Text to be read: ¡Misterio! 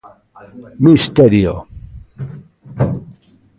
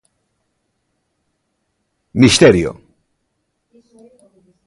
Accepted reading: second